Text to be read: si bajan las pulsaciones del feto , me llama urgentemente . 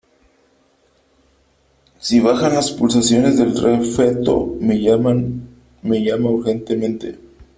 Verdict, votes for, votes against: rejected, 0, 3